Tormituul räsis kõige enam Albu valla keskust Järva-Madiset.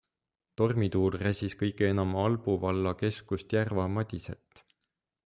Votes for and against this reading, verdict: 2, 0, accepted